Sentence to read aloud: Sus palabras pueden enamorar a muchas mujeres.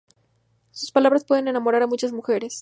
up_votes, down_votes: 2, 0